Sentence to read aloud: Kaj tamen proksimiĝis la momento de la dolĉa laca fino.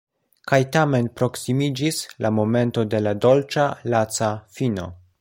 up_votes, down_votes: 2, 0